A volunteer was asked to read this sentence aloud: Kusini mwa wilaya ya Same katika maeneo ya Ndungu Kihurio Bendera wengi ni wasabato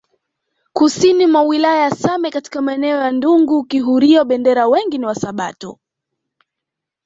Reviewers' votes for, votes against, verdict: 3, 0, accepted